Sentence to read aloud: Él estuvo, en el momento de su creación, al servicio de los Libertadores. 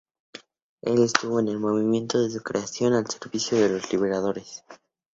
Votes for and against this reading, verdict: 2, 0, accepted